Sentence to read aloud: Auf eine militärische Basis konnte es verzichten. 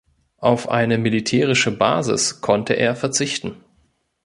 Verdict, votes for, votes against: rejected, 0, 2